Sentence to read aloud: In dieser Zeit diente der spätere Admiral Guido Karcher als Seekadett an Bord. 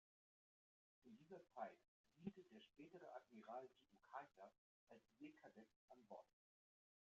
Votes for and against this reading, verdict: 1, 2, rejected